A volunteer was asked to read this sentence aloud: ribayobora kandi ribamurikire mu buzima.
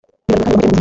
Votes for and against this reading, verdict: 0, 3, rejected